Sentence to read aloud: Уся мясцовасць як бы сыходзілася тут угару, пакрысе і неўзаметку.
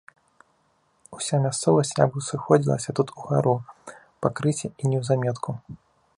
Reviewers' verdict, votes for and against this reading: rejected, 1, 2